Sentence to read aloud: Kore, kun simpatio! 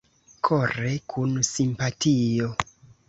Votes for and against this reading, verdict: 2, 1, accepted